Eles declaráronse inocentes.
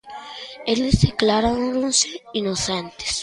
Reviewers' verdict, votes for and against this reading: accepted, 2, 1